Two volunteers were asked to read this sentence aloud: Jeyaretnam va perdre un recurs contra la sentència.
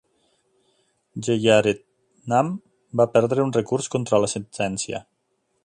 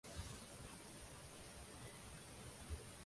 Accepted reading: first